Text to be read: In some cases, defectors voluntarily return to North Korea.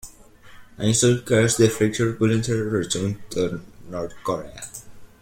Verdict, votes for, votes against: rejected, 0, 2